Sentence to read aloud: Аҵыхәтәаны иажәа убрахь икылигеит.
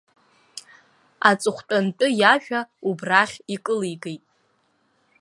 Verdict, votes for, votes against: rejected, 1, 2